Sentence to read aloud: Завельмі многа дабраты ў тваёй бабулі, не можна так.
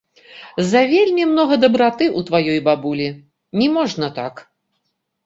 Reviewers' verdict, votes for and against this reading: accepted, 2, 0